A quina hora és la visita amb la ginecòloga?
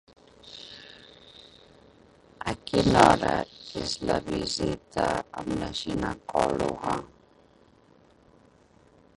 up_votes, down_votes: 0, 4